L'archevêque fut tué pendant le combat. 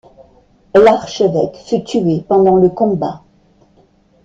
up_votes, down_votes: 2, 0